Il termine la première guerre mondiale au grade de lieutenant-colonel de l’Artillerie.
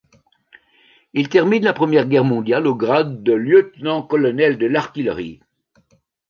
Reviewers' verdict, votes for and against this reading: rejected, 1, 2